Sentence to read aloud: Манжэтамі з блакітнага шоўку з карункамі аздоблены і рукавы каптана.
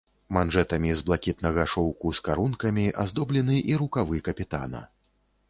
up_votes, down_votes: 0, 2